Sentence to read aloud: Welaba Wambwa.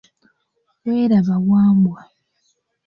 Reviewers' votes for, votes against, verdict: 2, 1, accepted